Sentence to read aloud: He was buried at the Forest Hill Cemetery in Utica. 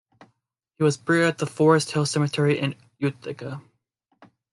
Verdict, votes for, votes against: rejected, 1, 2